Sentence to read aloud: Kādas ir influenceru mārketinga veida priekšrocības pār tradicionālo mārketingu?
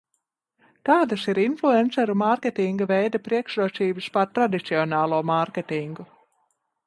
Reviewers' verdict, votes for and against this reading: rejected, 1, 2